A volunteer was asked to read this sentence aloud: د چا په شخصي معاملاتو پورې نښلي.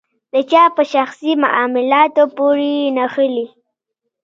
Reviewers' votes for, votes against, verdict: 2, 0, accepted